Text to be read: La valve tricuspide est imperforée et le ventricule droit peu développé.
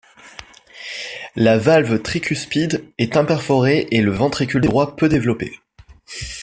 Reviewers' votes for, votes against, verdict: 2, 1, accepted